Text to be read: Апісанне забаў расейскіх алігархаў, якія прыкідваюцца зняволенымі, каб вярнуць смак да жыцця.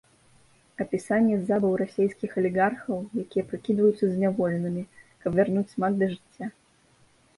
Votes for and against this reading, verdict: 1, 2, rejected